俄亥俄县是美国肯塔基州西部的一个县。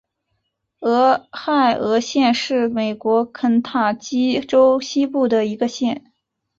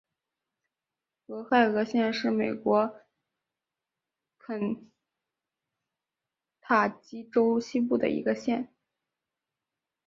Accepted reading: first